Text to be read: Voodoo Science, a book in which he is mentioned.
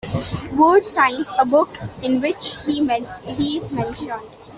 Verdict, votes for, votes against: rejected, 0, 2